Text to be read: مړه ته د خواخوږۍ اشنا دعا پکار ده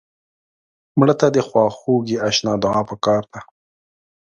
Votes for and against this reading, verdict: 2, 0, accepted